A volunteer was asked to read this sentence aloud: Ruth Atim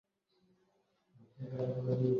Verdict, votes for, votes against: rejected, 0, 2